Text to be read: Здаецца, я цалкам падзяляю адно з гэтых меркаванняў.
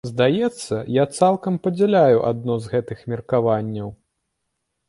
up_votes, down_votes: 2, 0